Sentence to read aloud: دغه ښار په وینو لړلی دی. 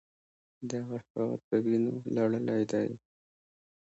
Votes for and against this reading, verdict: 2, 0, accepted